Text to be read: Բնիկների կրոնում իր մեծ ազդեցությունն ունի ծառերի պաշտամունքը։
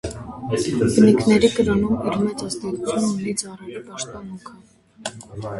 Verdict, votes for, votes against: rejected, 0, 2